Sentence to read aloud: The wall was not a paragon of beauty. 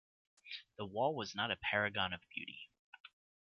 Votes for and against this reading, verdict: 2, 0, accepted